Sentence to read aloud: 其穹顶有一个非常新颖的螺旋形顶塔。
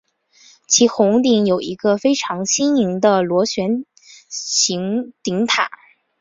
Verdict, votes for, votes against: accepted, 5, 3